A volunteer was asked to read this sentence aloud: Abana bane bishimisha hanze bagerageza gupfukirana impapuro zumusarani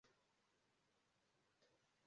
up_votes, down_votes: 0, 2